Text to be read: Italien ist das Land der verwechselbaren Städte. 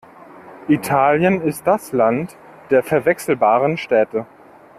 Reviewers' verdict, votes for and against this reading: accepted, 2, 0